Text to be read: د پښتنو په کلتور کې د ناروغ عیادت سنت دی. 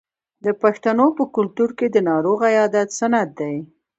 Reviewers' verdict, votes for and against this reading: accepted, 2, 0